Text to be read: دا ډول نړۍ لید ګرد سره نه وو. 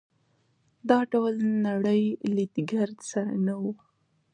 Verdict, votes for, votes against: accepted, 2, 0